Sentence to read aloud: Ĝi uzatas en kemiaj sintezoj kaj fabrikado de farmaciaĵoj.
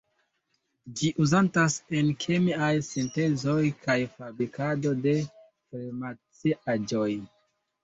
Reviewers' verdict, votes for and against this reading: accepted, 2, 1